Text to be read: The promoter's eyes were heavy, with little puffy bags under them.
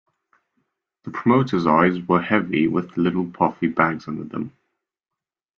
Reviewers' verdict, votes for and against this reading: accepted, 2, 0